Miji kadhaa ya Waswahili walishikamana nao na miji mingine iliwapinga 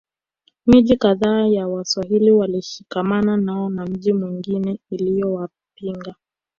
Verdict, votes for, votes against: rejected, 2, 3